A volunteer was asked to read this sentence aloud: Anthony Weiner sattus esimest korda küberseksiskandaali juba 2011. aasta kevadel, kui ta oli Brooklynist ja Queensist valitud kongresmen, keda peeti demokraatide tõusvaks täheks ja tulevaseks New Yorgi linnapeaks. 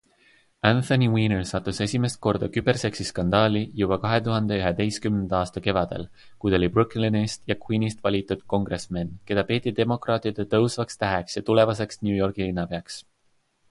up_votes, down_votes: 0, 2